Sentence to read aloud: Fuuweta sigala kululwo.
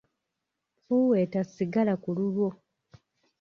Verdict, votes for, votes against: accepted, 2, 0